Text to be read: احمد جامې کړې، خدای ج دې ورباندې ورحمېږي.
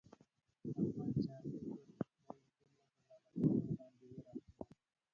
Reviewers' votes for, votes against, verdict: 0, 2, rejected